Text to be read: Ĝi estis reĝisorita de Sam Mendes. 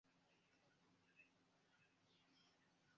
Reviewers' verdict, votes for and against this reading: rejected, 1, 2